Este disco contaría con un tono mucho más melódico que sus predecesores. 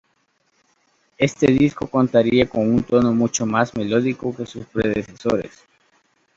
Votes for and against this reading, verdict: 2, 0, accepted